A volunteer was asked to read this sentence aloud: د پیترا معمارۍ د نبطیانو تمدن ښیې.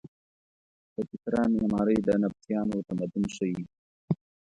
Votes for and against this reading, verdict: 2, 1, accepted